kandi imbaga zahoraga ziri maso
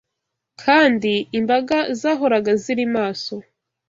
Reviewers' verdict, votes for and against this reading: accepted, 2, 0